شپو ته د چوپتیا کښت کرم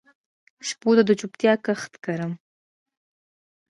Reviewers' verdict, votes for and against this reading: accepted, 2, 0